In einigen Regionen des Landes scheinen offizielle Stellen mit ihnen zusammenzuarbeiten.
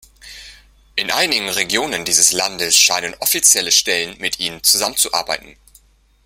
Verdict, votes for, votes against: rejected, 0, 2